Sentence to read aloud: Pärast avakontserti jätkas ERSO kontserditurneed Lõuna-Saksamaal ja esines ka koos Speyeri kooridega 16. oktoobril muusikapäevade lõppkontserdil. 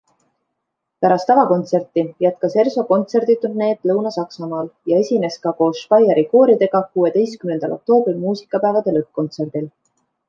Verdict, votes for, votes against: rejected, 0, 2